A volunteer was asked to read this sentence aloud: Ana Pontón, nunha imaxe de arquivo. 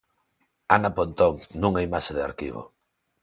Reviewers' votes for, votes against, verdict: 2, 0, accepted